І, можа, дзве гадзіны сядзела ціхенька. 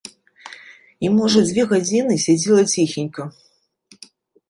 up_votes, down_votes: 3, 0